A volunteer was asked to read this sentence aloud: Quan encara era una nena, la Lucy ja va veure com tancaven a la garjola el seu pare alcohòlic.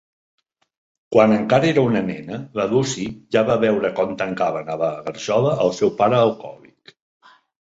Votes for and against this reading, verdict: 5, 0, accepted